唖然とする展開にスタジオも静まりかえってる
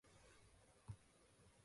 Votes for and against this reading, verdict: 0, 2, rejected